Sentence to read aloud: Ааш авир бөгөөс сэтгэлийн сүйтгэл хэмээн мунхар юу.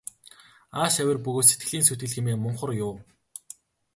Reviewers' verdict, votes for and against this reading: rejected, 0, 2